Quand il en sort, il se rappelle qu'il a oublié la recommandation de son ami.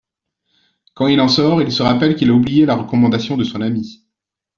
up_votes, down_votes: 2, 0